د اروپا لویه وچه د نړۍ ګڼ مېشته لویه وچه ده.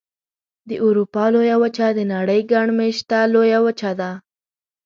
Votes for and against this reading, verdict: 2, 0, accepted